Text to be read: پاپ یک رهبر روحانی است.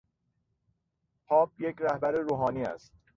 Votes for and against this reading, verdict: 2, 0, accepted